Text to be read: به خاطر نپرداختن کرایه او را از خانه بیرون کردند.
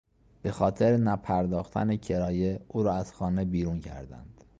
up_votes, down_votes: 3, 0